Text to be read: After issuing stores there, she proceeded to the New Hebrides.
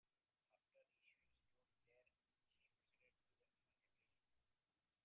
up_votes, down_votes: 0, 2